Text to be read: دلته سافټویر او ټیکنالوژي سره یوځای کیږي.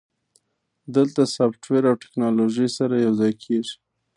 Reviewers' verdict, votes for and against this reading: rejected, 1, 2